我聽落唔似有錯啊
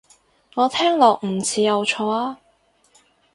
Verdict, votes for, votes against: accepted, 4, 0